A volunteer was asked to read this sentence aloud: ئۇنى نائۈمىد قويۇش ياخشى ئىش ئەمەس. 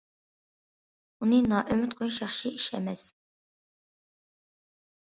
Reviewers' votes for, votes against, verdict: 2, 0, accepted